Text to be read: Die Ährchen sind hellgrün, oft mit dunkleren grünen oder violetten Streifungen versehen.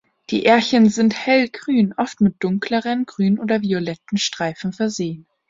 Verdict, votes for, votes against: rejected, 0, 2